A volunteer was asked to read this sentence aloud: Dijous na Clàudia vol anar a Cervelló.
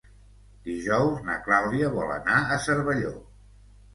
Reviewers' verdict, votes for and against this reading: accepted, 2, 0